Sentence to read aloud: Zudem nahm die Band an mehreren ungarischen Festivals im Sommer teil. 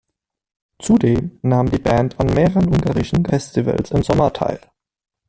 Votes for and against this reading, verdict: 2, 0, accepted